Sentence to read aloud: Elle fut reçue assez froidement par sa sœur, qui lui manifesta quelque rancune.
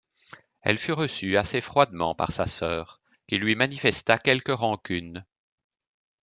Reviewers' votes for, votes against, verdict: 2, 0, accepted